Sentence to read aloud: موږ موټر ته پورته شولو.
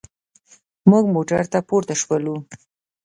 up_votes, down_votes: 2, 0